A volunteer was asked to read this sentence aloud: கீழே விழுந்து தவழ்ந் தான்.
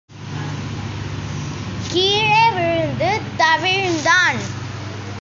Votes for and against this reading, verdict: 1, 3, rejected